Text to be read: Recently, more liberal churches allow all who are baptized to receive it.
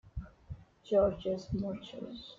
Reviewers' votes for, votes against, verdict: 0, 2, rejected